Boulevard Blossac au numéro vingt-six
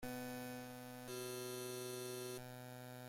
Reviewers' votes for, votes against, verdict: 0, 2, rejected